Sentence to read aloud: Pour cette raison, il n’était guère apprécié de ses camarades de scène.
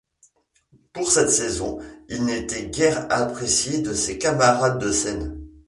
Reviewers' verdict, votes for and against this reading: rejected, 0, 2